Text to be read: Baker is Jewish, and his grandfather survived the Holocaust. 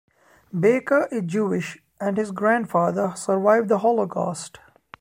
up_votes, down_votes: 2, 0